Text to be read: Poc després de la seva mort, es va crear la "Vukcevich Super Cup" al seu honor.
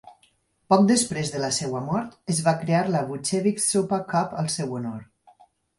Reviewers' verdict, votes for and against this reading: accepted, 4, 0